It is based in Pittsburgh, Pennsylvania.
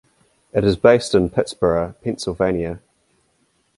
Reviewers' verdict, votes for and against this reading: accepted, 2, 0